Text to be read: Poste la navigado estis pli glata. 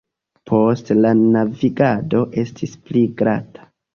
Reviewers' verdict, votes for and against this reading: accepted, 2, 1